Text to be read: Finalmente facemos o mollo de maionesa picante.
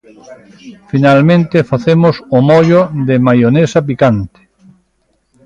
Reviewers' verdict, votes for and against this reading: accepted, 3, 0